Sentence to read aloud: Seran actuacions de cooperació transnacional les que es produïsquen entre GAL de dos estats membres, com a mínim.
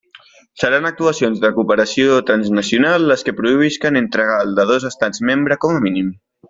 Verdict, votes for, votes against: rejected, 1, 2